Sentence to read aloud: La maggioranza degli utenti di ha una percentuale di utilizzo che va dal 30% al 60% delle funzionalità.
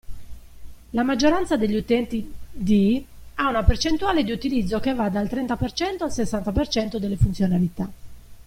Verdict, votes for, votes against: rejected, 0, 2